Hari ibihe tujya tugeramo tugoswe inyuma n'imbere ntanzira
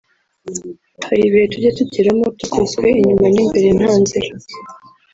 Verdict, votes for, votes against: rejected, 0, 2